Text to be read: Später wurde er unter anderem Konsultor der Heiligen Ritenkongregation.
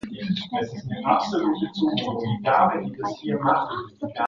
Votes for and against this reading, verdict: 1, 2, rejected